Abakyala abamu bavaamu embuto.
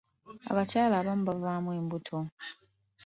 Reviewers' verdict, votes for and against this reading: accepted, 2, 0